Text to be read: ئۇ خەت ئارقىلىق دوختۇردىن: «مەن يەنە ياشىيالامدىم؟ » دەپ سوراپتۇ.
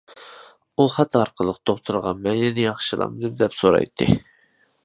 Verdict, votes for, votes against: rejected, 0, 2